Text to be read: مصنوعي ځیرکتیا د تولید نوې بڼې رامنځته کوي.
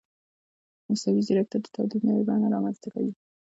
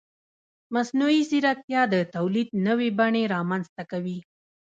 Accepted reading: first